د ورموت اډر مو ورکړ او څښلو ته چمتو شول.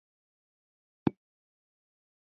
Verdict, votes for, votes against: accepted, 2, 0